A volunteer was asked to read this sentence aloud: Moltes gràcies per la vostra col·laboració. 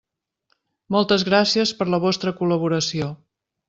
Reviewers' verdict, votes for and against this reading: accepted, 3, 0